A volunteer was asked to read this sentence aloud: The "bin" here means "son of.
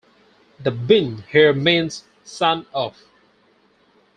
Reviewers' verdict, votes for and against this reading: accepted, 4, 0